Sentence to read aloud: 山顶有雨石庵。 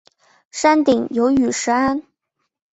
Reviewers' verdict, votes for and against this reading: accepted, 3, 0